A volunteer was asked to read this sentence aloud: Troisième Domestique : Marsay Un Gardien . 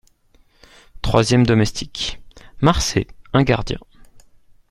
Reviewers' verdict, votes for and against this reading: accepted, 2, 0